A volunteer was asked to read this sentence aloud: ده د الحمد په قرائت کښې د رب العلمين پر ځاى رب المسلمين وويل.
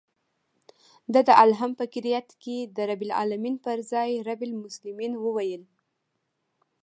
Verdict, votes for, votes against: rejected, 1, 2